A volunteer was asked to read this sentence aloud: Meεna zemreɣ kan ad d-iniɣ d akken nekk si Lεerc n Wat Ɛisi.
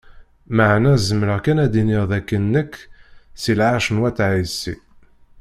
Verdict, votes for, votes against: rejected, 0, 2